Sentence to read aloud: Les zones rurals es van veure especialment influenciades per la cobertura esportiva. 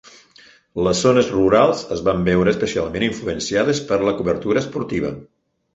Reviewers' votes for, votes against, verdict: 4, 0, accepted